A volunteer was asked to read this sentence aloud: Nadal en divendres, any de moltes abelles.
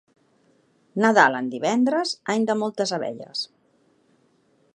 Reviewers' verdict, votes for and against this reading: accepted, 2, 0